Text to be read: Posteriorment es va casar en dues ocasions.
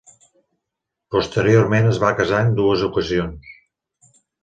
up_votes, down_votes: 3, 0